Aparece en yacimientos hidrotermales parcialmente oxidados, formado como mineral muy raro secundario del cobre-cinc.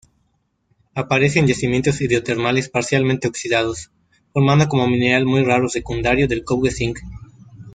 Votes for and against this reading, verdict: 0, 2, rejected